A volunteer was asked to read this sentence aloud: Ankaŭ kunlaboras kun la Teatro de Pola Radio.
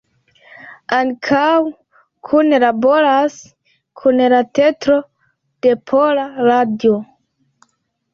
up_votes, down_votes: 1, 2